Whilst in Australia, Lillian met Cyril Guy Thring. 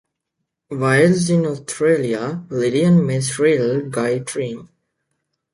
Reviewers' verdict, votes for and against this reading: rejected, 0, 2